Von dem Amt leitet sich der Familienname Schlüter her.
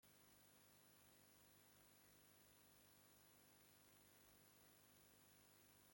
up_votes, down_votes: 0, 2